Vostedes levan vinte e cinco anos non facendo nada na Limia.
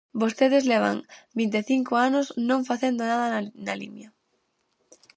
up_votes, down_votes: 0, 4